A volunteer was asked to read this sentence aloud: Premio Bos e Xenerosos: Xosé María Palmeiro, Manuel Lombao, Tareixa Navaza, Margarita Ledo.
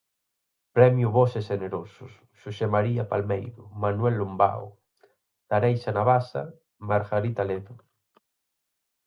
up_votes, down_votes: 4, 0